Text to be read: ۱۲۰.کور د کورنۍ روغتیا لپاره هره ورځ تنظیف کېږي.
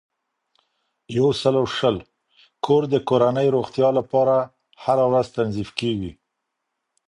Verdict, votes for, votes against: rejected, 0, 2